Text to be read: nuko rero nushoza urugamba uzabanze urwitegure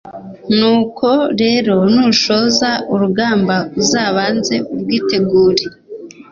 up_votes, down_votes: 2, 0